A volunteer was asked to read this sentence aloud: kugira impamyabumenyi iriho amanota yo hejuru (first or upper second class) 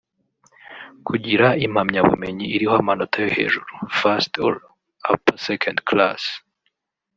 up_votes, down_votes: 1, 2